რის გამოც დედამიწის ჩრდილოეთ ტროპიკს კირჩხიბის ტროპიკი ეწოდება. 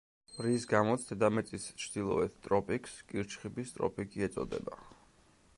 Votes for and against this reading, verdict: 2, 0, accepted